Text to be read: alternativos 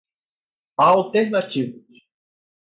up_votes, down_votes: 2, 2